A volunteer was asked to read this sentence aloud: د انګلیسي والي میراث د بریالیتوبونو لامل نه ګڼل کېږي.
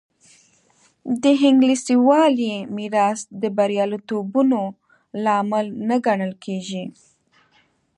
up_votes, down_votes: 2, 0